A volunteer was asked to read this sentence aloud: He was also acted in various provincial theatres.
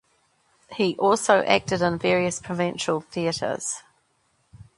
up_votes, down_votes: 1, 2